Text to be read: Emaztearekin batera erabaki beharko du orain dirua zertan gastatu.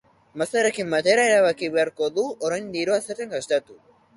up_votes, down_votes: 2, 0